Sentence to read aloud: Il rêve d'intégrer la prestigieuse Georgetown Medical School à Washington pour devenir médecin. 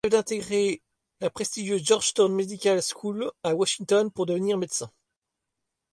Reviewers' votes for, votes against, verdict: 0, 2, rejected